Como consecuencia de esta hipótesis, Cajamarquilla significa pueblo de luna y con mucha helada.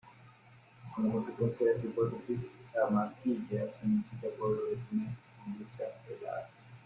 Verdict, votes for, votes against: rejected, 0, 2